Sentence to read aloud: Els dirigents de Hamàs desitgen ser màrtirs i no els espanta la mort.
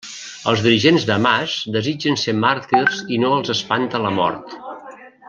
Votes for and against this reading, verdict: 1, 2, rejected